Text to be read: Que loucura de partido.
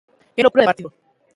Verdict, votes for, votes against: rejected, 0, 2